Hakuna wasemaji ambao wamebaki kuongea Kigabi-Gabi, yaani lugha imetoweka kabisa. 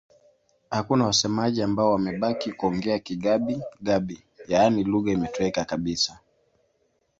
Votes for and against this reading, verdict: 2, 0, accepted